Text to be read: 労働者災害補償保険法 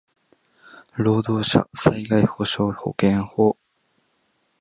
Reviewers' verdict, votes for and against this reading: rejected, 1, 2